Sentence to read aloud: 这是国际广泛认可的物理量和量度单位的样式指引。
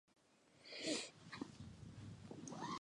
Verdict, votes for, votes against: rejected, 1, 2